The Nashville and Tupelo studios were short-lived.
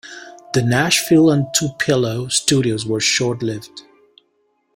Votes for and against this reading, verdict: 2, 0, accepted